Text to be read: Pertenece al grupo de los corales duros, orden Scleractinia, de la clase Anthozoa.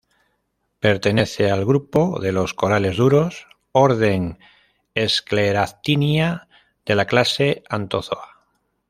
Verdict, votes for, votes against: accepted, 2, 0